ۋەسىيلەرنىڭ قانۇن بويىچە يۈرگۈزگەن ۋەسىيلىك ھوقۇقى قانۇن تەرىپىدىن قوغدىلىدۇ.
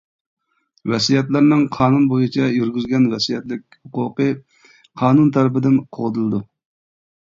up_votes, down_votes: 1, 2